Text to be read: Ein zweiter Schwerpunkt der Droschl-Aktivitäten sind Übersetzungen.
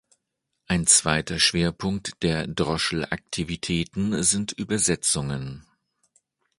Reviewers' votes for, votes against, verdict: 2, 0, accepted